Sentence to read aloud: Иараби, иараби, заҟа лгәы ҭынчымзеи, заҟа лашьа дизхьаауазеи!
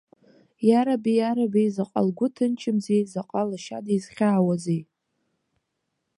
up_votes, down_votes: 2, 0